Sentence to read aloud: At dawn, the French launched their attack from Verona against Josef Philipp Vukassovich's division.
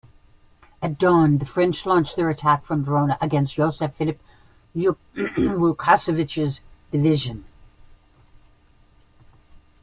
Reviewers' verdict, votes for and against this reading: rejected, 0, 2